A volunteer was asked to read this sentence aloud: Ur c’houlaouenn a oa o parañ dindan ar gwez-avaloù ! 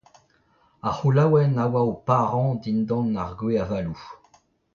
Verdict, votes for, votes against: rejected, 0, 2